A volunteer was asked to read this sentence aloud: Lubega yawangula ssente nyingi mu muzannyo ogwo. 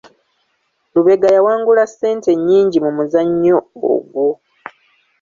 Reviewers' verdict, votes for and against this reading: rejected, 1, 2